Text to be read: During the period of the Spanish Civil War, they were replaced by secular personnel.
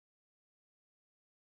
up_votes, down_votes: 0, 2